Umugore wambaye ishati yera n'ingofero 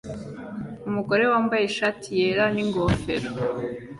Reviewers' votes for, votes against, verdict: 2, 0, accepted